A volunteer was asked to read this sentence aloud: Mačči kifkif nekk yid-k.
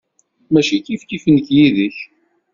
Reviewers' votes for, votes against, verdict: 2, 0, accepted